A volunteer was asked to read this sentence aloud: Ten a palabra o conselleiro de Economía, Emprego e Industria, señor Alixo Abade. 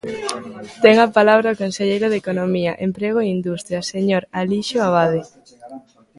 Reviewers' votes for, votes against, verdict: 2, 0, accepted